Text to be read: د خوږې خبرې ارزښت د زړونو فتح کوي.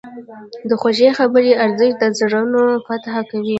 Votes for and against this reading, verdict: 2, 1, accepted